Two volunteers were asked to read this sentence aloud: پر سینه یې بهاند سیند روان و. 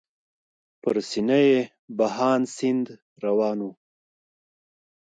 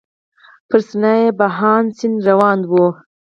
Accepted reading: first